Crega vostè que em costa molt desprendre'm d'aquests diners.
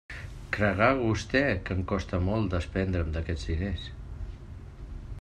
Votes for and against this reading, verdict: 0, 2, rejected